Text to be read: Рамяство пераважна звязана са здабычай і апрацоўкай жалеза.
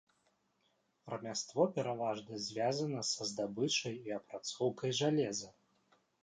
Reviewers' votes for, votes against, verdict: 1, 2, rejected